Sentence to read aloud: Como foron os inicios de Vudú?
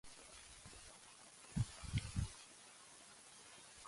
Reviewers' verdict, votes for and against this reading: rejected, 0, 2